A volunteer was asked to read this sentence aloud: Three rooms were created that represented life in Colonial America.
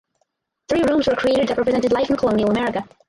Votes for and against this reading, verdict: 0, 4, rejected